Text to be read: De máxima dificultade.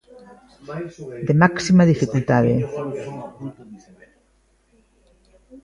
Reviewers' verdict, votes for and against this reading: accepted, 2, 0